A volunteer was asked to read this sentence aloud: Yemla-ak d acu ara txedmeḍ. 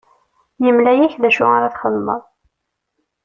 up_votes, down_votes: 2, 0